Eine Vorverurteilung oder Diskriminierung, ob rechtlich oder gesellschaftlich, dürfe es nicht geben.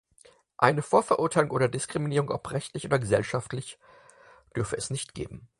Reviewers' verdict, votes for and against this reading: accepted, 4, 0